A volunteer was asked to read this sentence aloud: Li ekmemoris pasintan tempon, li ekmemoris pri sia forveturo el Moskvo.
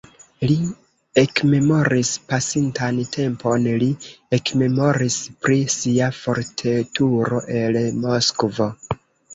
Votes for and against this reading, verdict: 1, 2, rejected